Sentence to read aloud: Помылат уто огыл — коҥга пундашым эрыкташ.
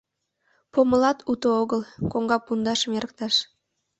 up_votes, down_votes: 2, 0